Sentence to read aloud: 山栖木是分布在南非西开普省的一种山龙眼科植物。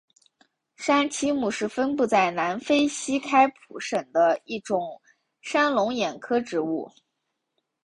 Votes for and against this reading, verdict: 3, 1, accepted